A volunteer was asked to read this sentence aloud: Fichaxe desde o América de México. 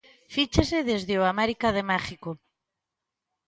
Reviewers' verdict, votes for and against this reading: rejected, 0, 2